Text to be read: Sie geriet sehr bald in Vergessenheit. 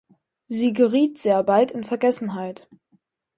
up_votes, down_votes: 4, 0